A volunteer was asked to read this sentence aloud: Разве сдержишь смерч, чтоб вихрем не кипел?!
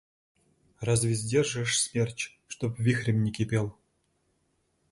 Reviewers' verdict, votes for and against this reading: accepted, 2, 1